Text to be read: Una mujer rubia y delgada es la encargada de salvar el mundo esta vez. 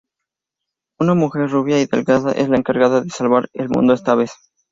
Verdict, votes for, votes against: accepted, 6, 0